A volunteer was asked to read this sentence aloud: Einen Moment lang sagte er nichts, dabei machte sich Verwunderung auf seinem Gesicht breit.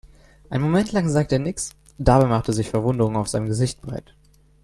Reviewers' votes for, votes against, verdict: 1, 2, rejected